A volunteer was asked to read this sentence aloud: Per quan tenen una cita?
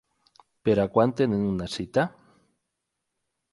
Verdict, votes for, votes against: rejected, 0, 4